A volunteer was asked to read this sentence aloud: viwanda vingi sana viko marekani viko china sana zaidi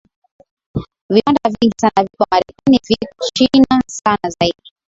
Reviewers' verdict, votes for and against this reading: accepted, 5, 1